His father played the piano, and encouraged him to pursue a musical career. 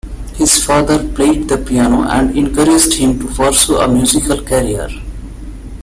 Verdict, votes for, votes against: accepted, 2, 0